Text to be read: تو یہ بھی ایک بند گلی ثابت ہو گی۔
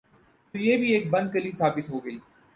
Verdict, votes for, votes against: rejected, 4, 4